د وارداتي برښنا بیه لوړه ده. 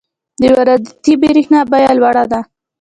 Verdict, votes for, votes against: accepted, 2, 0